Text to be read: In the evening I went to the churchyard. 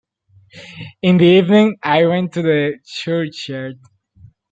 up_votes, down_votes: 2, 1